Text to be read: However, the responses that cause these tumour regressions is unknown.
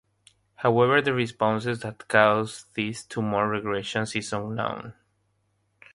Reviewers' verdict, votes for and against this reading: accepted, 6, 0